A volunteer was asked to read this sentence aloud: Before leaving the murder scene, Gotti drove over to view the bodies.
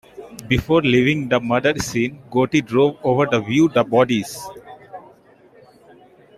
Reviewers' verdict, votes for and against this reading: rejected, 1, 2